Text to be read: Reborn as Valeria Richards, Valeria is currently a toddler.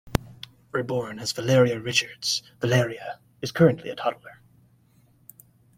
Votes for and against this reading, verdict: 2, 0, accepted